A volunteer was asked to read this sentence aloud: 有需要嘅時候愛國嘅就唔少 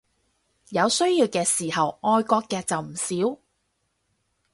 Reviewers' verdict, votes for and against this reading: rejected, 2, 2